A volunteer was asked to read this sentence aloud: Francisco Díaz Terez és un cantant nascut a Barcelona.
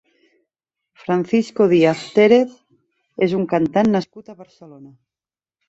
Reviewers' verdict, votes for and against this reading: rejected, 1, 2